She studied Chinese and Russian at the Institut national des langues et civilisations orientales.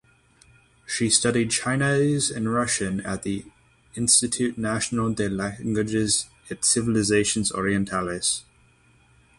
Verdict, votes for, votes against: rejected, 0, 6